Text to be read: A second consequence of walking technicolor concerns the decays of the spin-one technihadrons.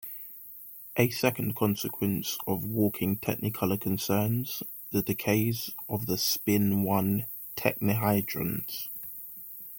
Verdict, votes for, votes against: accepted, 2, 1